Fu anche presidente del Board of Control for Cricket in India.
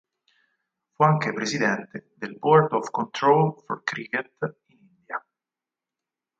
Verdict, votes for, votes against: rejected, 0, 4